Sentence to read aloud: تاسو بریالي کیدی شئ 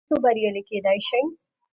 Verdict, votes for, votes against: accepted, 2, 0